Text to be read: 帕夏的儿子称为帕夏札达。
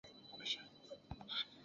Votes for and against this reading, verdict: 0, 4, rejected